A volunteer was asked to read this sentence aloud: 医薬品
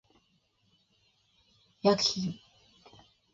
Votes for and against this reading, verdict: 1, 2, rejected